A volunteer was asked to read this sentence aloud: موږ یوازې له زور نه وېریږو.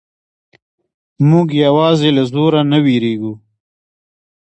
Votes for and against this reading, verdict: 1, 2, rejected